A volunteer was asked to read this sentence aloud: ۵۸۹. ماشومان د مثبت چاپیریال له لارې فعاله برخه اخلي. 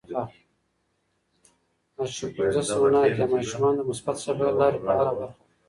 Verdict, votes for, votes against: rejected, 0, 2